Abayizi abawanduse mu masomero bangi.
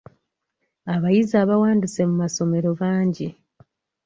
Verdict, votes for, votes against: rejected, 1, 2